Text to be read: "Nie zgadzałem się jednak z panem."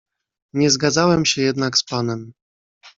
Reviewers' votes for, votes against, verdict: 2, 0, accepted